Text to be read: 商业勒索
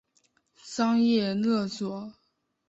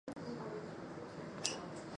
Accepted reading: first